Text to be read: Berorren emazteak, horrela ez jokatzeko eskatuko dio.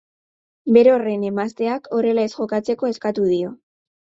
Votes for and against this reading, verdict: 2, 2, rejected